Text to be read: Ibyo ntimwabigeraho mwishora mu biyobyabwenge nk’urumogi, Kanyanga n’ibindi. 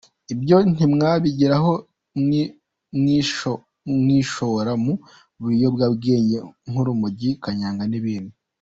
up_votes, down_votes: 1, 2